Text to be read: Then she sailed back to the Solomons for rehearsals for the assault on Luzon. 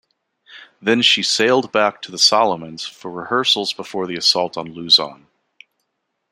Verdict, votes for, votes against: rejected, 0, 2